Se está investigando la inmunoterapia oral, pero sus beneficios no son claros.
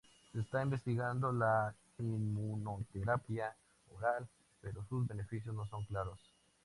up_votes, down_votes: 2, 2